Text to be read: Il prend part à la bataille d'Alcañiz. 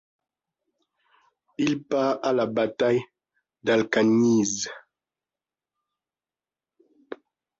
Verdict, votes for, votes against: rejected, 0, 2